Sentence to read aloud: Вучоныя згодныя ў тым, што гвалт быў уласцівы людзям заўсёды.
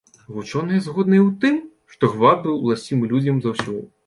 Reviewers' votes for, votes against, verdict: 2, 1, accepted